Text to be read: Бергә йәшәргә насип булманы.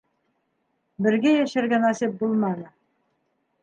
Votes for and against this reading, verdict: 2, 0, accepted